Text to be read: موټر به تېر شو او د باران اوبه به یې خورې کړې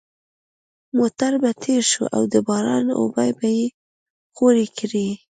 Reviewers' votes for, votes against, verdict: 2, 0, accepted